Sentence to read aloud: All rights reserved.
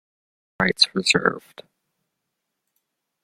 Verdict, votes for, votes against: rejected, 0, 2